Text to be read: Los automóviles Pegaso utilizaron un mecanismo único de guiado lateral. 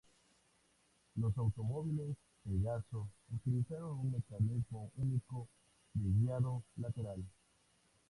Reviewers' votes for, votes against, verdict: 2, 2, rejected